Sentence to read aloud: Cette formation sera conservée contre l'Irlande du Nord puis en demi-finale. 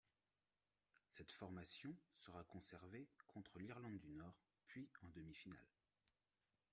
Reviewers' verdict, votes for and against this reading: rejected, 0, 2